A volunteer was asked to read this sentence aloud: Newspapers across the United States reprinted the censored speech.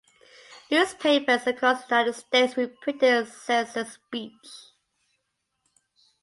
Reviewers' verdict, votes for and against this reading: rejected, 0, 2